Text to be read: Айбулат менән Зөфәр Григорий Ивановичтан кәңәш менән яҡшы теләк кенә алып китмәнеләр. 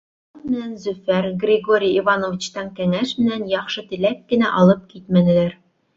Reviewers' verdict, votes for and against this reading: rejected, 1, 3